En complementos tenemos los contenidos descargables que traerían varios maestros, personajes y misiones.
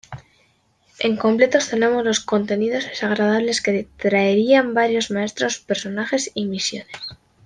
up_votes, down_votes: 1, 2